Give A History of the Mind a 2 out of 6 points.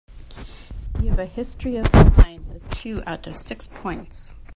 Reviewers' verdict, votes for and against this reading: rejected, 0, 2